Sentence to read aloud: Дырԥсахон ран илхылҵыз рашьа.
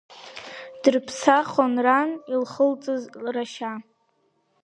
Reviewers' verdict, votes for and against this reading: rejected, 1, 2